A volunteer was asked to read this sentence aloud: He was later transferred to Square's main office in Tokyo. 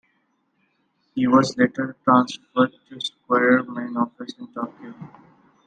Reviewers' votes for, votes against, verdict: 1, 2, rejected